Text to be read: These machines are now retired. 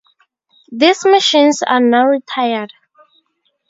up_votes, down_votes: 0, 2